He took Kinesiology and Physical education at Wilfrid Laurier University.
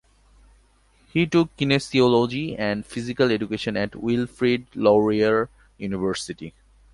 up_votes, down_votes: 2, 0